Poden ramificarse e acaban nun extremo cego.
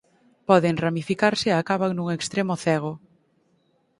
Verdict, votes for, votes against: accepted, 4, 0